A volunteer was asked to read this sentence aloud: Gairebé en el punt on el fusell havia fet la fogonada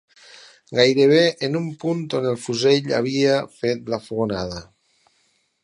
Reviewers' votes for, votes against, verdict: 0, 4, rejected